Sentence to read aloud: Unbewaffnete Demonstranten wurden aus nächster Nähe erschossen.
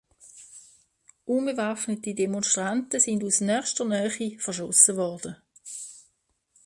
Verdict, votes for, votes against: rejected, 0, 2